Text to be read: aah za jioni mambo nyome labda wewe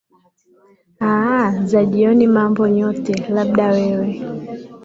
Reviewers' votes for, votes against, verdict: 3, 2, accepted